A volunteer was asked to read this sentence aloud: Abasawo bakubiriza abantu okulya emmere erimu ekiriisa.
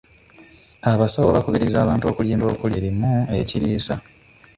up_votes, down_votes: 0, 2